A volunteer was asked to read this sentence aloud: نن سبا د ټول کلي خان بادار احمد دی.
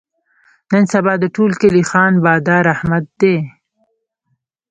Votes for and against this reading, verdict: 0, 2, rejected